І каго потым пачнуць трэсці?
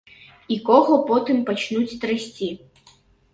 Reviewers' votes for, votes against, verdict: 1, 2, rejected